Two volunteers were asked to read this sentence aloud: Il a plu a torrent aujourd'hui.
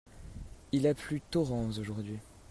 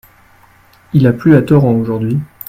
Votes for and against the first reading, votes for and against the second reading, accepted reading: 0, 2, 2, 0, second